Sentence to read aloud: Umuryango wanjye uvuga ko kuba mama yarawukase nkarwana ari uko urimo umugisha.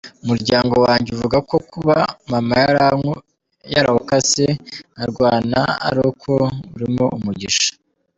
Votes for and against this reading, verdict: 1, 2, rejected